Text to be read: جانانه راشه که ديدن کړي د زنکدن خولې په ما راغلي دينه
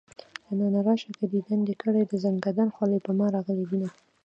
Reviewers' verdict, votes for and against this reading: rejected, 0, 2